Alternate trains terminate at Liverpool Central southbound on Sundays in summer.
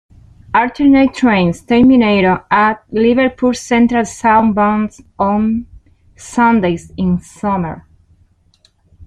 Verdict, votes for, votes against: accepted, 3, 1